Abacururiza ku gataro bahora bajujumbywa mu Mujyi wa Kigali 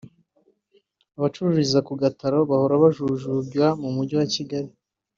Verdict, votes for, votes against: rejected, 0, 2